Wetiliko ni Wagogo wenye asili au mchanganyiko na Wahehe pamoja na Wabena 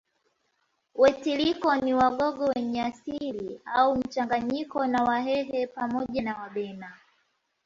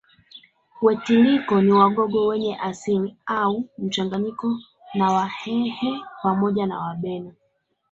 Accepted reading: first